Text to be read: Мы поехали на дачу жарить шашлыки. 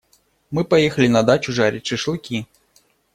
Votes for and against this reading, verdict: 2, 0, accepted